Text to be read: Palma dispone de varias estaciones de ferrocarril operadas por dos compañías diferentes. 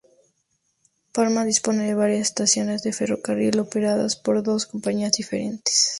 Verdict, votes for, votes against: accepted, 2, 0